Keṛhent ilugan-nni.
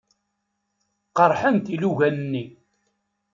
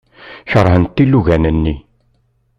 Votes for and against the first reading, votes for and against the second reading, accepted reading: 1, 2, 2, 1, second